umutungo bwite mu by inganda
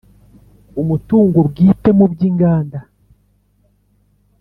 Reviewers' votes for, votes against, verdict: 3, 0, accepted